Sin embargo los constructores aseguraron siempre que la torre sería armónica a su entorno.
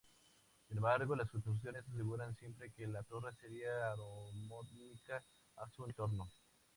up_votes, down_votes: 0, 2